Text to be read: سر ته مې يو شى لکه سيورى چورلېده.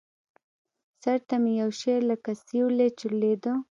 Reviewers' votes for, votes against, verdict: 1, 2, rejected